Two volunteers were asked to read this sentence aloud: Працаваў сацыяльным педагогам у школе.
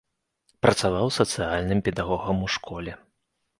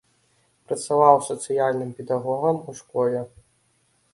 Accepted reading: second